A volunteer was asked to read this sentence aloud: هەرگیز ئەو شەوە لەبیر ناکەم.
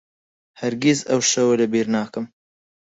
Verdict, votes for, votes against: accepted, 4, 0